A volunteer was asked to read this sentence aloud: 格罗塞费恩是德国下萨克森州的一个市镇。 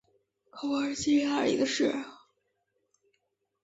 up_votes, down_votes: 4, 1